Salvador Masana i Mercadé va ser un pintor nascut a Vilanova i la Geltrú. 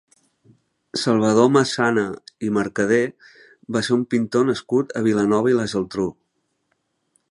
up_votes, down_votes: 2, 0